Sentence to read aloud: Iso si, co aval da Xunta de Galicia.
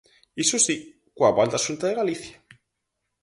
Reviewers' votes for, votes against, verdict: 2, 2, rejected